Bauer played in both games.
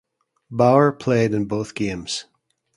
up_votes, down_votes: 2, 0